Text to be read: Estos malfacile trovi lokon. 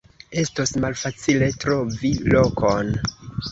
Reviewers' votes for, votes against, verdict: 2, 0, accepted